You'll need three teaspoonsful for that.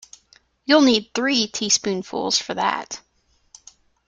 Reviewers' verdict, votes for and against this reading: rejected, 1, 2